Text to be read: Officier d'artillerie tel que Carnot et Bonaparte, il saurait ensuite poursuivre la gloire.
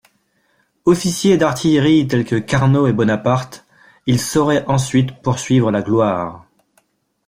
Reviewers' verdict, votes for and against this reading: accepted, 2, 1